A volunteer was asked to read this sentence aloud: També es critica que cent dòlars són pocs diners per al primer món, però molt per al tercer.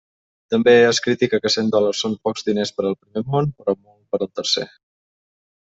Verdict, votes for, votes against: rejected, 0, 2